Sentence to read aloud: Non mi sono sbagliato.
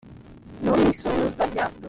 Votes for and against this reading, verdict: 0, 2, rejected